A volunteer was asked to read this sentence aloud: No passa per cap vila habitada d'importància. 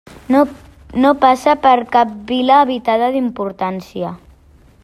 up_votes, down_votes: 3, 0